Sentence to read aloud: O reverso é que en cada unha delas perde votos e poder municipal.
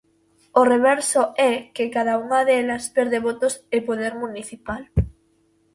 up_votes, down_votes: 0, 2